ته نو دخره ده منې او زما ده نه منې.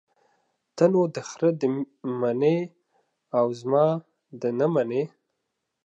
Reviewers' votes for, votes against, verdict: 0, 2, rejected